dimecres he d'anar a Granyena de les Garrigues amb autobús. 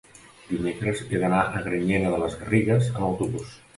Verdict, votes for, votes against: accepted, 2, 0